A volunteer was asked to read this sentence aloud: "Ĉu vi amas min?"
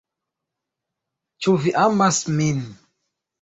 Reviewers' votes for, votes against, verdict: 2, 0, accepted